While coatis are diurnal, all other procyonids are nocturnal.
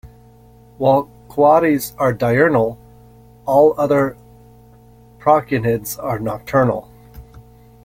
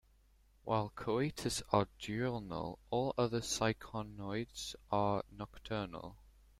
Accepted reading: first